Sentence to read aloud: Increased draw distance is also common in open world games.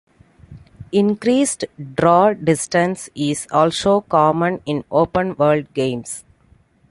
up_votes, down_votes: 2, 1